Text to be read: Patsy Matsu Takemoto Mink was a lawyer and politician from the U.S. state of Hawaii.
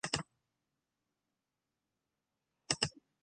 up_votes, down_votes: 0, 2